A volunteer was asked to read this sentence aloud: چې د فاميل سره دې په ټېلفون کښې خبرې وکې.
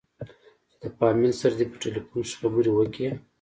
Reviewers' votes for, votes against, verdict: 2, 0, accepted